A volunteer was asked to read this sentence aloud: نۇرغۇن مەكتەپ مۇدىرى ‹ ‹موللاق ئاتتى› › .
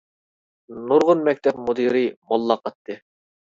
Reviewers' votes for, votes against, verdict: 1, 2, rejected